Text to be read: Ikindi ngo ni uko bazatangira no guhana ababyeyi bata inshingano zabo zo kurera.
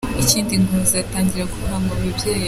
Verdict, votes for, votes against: rejected, 0, 2